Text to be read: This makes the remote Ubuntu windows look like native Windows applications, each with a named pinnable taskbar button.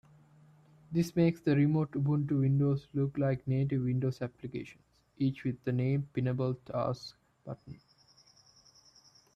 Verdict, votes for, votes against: rejected, 0, 2